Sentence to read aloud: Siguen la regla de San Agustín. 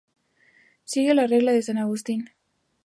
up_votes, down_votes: 4, 0